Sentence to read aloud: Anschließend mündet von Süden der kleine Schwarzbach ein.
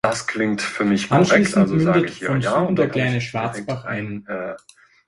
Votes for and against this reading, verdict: 0, 2, rejected